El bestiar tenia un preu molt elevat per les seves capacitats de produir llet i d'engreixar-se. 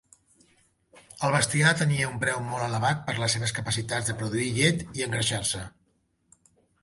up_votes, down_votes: 0, 2